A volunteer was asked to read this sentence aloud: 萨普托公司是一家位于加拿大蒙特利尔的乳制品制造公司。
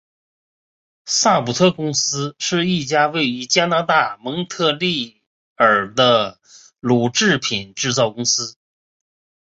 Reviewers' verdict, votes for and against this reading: accepted, 4, 0